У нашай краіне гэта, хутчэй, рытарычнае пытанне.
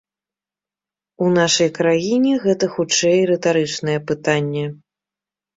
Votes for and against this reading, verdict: 2, 0, accepted